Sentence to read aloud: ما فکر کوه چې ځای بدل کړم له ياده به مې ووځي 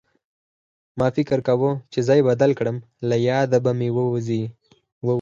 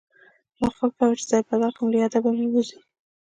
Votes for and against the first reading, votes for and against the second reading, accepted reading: 4, 2, 1, 2, first